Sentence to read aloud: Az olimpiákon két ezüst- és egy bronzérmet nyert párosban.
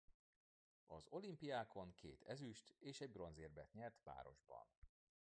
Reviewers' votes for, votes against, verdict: 2, 0, accepted